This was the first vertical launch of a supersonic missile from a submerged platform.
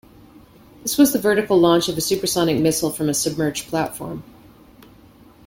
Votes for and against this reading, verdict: 0, 2, rejected